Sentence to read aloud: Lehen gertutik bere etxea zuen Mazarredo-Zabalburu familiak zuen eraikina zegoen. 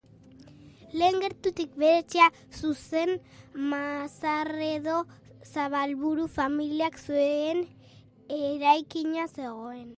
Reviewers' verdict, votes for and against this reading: rejected, 1, 2